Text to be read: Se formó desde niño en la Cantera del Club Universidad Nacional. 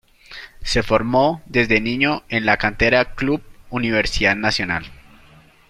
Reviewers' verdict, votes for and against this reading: rejected, 0, 2